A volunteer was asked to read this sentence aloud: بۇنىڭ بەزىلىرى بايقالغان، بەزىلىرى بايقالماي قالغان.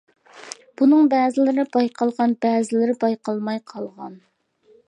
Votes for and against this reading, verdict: 2, 0, accepted